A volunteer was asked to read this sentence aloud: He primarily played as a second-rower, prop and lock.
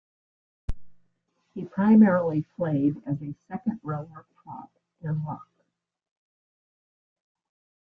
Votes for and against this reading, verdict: 2, 0, accepted